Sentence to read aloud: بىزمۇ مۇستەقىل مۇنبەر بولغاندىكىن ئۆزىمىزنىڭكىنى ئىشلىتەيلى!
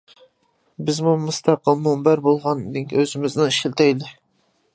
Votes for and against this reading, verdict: 0, 2, rejected